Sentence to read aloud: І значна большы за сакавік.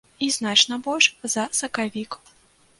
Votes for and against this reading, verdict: 0, 2, rejected